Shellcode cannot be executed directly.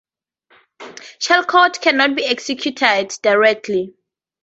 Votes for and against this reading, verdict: 2, 0, accepted